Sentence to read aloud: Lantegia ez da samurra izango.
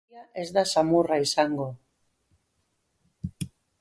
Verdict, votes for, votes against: rejected, 0, 2